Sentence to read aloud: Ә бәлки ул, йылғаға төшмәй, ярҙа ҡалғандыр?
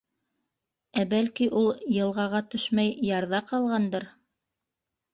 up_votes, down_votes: 1, 2